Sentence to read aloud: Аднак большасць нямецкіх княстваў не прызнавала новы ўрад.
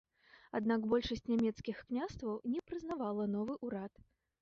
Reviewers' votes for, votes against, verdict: 2, 0, accepted